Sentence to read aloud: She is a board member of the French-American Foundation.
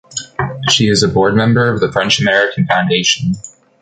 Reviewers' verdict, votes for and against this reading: accepted, 2, 1